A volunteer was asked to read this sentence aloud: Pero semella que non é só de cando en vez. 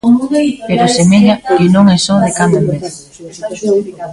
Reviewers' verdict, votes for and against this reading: rejected, 0, 2